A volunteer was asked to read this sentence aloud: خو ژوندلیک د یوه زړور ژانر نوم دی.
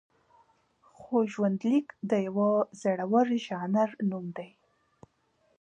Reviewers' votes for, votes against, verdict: 2, 0, accepted